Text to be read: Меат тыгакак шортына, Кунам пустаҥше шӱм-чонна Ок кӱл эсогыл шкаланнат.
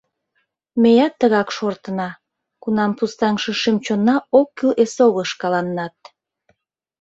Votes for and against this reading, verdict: 0, 2, rejected